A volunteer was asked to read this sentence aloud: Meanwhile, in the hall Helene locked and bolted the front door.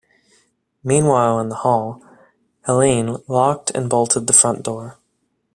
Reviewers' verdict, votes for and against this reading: accepted, 2, 0